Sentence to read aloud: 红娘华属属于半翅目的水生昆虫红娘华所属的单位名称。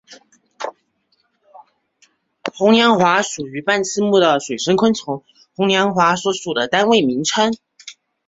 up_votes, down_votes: 2, 0